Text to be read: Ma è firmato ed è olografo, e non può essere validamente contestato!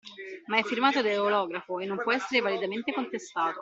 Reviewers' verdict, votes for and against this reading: rejected, 1, 2